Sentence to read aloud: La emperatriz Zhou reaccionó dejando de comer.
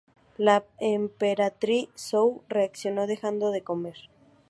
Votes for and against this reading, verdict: 2, 2, rejected